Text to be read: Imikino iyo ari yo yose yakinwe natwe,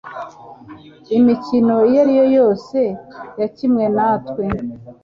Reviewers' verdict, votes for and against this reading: accepted, 2, 0